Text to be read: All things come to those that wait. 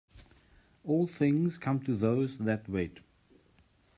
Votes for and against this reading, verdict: 2, 0, accepted